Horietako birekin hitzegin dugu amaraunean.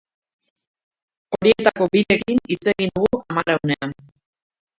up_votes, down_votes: 1, 3